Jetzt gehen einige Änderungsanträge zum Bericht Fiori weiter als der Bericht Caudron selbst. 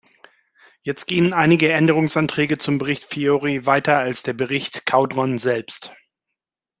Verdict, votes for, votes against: accepted, 2, 0